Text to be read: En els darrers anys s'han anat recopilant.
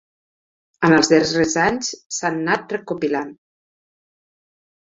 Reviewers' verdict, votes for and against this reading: rejected, 0, 4